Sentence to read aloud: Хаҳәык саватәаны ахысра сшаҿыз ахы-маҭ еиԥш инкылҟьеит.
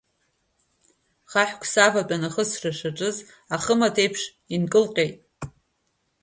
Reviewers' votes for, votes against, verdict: 2, 1, accepted